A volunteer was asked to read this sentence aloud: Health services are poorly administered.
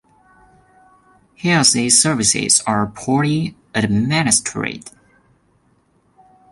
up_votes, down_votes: 0, 2